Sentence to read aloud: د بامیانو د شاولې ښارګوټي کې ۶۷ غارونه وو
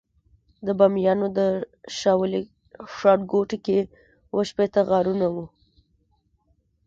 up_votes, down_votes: 0, 2